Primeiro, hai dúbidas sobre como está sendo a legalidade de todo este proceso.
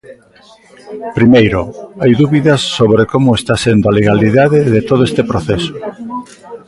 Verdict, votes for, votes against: rejected, 1, 2